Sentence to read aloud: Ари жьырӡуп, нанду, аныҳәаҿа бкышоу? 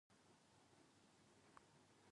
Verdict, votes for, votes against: rejected, 0, 2